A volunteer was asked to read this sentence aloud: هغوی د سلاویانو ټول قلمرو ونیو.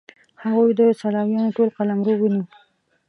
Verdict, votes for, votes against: accepted, 2, 1